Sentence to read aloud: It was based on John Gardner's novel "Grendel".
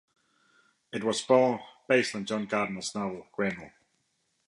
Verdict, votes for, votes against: rejected, 0, 2